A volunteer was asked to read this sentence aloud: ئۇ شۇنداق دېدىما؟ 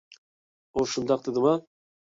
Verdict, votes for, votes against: accepted, 2, 0